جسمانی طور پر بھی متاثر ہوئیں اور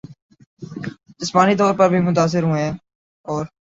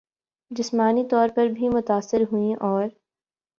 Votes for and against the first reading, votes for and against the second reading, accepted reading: 3, 3, 12, 1, second